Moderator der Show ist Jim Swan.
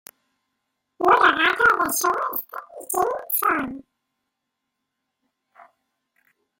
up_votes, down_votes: 0, 2